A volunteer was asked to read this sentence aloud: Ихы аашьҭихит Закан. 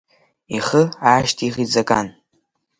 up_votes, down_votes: 3, 0